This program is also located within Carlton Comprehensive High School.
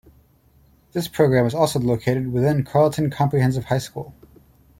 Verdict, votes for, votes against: rejected, 1, 2